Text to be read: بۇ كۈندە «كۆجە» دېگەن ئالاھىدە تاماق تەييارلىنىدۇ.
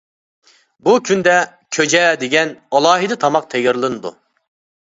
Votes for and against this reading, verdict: 2, 0, accepted